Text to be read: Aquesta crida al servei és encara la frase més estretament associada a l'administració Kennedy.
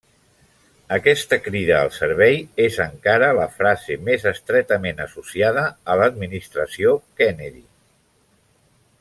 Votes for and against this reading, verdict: 1, 2, rejected